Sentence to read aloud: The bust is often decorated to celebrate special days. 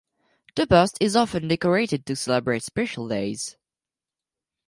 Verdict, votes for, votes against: accepted, 4, 0